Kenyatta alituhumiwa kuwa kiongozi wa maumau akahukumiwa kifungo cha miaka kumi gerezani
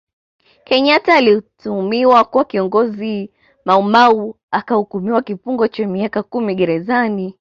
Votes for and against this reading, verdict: 2, 0, accepted